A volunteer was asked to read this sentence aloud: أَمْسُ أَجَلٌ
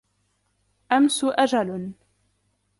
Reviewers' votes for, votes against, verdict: 2, 0, accepted